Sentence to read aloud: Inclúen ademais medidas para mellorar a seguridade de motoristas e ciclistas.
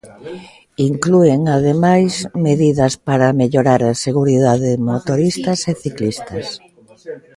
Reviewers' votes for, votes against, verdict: 2, 0, accepted